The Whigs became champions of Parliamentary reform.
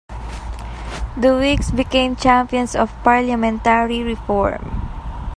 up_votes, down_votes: 2, 0